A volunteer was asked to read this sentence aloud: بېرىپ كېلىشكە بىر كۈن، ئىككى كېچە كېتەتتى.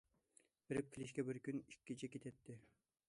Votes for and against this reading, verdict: 2, 0, accepted